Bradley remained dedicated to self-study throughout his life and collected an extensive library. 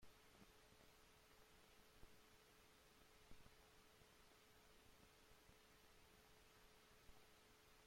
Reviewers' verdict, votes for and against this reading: rejected, 0, 2